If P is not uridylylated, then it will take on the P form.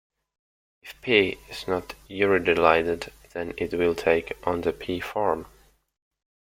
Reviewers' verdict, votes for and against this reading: accepted, 2, 1